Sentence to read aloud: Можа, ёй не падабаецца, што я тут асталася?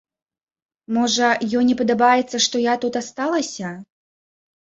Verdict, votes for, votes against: rejected, 1, 2